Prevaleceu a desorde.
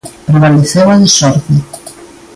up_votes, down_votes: 0, 2